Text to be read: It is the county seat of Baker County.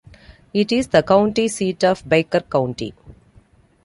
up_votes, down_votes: 2, 0